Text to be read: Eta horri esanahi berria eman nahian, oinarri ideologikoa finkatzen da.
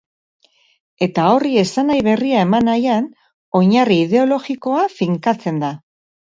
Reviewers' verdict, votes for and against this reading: accepted, 4, 0